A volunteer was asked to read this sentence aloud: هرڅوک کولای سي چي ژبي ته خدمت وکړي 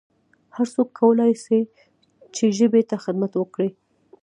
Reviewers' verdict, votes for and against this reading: accepted, 2, 1